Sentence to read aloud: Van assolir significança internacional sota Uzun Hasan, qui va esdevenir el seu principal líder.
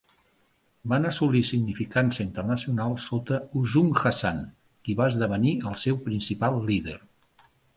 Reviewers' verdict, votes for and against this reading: accepted, 3, 0